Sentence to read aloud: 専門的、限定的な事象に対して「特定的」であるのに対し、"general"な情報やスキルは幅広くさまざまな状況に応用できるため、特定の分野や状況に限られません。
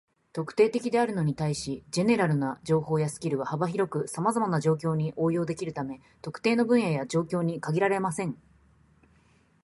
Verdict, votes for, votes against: rejected, 0, 2